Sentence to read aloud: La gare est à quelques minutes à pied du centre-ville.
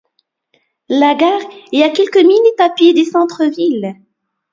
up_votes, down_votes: 2, 0